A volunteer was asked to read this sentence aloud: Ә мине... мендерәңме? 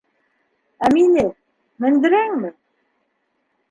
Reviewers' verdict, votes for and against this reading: accepted, 4, 0